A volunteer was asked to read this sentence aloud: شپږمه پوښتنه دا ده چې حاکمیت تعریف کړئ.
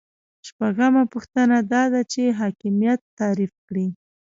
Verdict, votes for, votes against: rejected, 0, 2